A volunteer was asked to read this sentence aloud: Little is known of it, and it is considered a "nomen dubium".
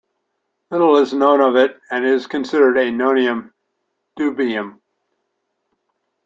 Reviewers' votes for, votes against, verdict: 1, 2, rejected